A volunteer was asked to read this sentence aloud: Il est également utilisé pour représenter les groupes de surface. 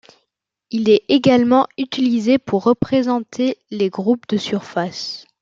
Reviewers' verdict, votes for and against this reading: accepted, 2, 0